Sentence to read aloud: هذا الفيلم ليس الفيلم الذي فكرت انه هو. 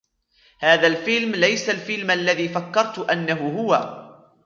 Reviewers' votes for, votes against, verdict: 2, 0, accepted